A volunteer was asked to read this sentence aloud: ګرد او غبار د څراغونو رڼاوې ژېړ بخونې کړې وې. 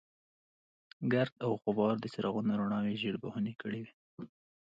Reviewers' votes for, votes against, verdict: 2, 0, accepted